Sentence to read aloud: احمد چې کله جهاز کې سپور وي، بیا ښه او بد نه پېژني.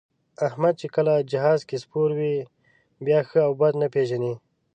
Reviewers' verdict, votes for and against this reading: accepted, 4, 0